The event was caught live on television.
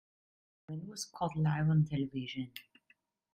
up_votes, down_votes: 1, 2